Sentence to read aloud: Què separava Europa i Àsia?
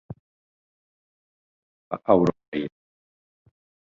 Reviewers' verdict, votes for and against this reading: rejected, 0, 4